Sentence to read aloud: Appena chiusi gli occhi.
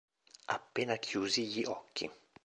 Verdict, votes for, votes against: rejected, 0, 2